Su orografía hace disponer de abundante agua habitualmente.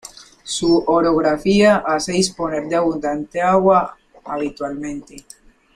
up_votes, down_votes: 2, 1